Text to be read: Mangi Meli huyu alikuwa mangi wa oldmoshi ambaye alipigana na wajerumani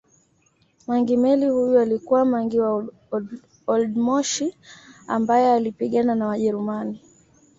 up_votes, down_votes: 1, 2